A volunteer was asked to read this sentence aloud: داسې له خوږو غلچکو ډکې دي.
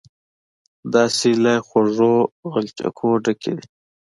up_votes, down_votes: 2, 0